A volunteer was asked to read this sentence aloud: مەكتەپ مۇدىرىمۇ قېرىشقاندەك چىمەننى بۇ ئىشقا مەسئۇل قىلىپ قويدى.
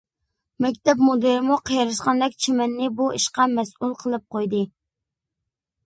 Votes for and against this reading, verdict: 2, 0, accepted